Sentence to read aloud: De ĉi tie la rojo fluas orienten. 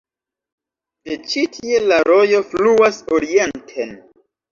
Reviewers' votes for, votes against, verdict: 2, 0, accepted